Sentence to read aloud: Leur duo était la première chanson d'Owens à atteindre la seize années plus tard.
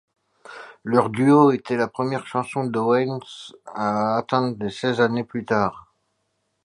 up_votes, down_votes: 0, 2